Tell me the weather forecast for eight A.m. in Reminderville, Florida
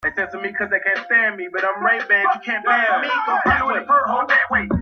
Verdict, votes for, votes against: rejected, 0, 2